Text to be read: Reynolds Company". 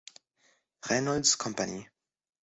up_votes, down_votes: 2, 0